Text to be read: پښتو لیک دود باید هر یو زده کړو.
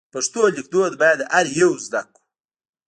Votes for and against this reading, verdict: 1, 2, rejected